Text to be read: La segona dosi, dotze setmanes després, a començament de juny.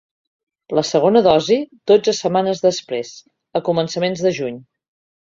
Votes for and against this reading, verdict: 1, 2, rejected